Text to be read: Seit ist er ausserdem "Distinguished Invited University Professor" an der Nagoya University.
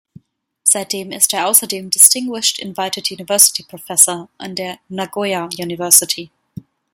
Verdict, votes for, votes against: rejected, 0, 2